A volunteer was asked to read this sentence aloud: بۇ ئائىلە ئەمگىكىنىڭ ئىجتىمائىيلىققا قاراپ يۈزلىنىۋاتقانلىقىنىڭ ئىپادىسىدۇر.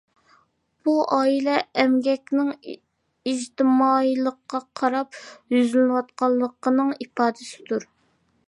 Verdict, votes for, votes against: rejected, 0, 2